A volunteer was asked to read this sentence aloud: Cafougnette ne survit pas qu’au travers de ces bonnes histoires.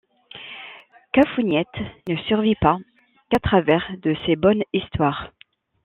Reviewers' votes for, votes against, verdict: 1, 2, rejected